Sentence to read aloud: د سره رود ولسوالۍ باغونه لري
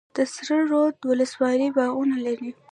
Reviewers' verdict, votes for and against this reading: accepted, 2, 0